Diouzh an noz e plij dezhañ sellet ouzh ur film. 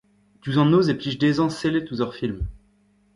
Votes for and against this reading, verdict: 1, 2, rejected